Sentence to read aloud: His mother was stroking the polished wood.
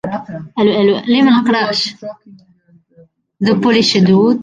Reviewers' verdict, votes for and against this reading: rejected, 0, 2